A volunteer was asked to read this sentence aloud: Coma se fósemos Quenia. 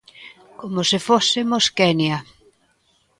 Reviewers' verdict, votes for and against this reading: accepted, 2, 0